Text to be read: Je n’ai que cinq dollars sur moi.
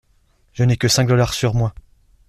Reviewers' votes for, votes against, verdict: 2, 0, accepted